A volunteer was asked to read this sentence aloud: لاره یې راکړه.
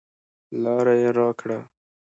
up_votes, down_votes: 2, 0